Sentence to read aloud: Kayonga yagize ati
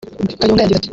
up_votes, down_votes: 1, 2